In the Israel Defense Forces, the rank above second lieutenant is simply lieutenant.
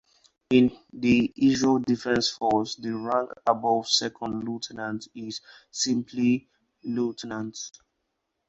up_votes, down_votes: 4, 0